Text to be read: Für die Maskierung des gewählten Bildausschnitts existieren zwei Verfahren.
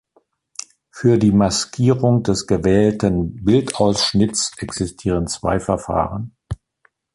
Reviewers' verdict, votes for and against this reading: accepted, 2, 0